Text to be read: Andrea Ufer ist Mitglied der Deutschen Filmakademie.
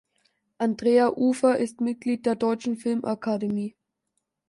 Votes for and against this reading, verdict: 2, 0, accepted